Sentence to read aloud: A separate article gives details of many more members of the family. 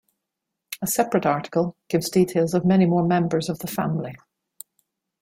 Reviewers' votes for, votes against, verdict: 2, 0, accepted